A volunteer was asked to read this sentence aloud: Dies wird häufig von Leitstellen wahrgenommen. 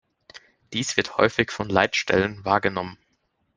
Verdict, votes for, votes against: accepted, 2, 0